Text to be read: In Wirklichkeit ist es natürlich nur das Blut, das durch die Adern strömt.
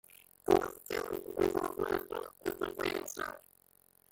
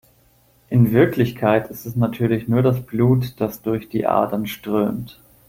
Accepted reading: second